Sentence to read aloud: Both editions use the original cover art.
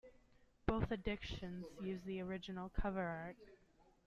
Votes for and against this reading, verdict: 1, 2, rejected